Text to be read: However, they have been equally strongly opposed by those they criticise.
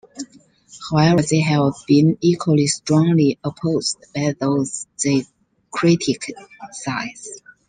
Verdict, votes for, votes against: rejected, 1, 2